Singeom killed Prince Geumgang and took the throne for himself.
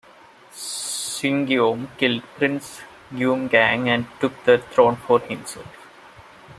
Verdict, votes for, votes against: rejected, 0, 2